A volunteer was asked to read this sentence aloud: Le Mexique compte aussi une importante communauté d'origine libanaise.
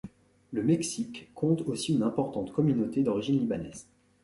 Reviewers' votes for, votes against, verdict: 2, 0, accepted